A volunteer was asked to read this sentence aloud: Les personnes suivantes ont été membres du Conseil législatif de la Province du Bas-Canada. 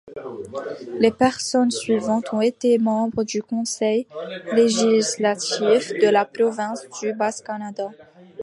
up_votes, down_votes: 2, 1